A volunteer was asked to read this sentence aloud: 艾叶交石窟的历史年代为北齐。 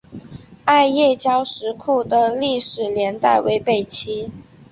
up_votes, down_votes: 4, 0